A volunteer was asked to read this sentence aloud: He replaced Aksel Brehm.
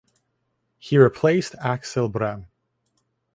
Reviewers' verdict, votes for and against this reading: accepted, 2, 0